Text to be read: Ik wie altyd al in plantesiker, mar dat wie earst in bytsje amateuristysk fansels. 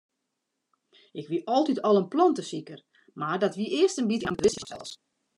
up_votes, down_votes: 0, 2